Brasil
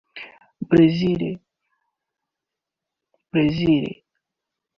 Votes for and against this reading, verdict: 1, 2, rejected